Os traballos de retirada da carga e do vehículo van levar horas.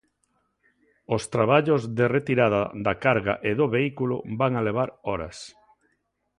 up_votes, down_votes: 0, 2